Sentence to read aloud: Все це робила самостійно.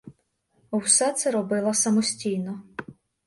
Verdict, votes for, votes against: accepted, 2, 1